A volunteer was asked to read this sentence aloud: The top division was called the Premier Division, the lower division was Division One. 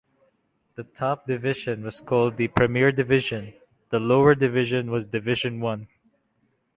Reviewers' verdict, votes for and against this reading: accepted, 2, 0